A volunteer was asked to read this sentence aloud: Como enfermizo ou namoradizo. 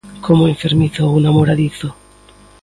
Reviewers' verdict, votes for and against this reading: accepted, 2, 0